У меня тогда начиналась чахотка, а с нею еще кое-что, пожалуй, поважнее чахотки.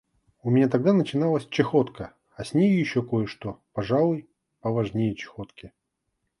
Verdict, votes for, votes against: accepted, 2, 0